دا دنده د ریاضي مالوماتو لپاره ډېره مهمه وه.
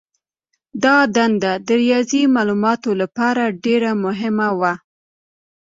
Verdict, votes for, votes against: accepted, 2, 1